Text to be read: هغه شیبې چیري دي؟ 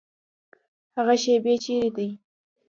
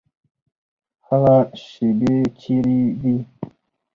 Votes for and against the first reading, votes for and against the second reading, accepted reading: 0, 2, 4, 2, second